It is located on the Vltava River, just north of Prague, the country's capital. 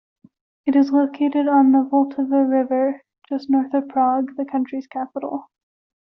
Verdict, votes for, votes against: rejected, 1, 2